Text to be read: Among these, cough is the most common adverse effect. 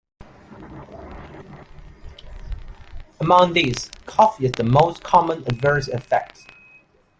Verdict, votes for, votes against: accepted, 3, 0